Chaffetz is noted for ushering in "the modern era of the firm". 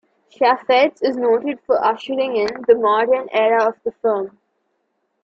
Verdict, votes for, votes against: rejected, 1, 2